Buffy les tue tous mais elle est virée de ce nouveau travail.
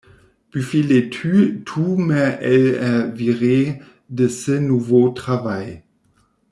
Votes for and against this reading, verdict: 0, 2, rejected